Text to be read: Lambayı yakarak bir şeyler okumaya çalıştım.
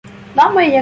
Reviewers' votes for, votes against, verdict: 0, 2, rejected